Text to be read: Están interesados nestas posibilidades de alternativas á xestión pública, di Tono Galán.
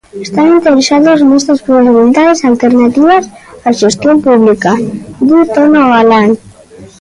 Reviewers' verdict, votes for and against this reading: rejected, 0, 2